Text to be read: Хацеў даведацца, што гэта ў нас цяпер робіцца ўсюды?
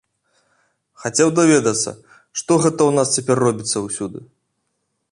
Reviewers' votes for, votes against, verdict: 2, 0, accepted